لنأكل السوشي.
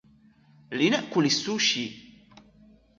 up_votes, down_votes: 2, 0